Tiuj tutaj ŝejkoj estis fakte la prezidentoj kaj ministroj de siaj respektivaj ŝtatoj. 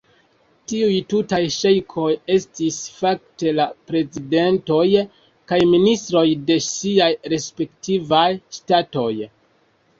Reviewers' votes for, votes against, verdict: 0, 2, rejected